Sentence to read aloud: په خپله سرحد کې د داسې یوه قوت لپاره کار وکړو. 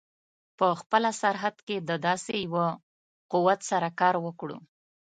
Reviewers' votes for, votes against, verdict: 1, 2, rejected